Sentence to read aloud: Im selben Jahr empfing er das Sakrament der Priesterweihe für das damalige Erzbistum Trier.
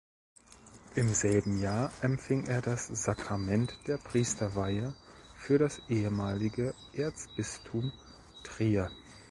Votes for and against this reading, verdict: 1, 2, rejected